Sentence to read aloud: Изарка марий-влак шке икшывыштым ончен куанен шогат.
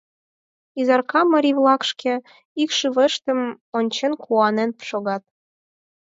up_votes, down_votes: 4, 2